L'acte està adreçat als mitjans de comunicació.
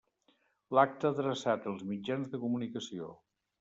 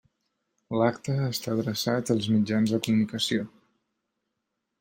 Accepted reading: second